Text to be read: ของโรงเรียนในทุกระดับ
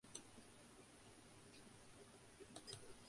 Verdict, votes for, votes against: rejected, 0, 2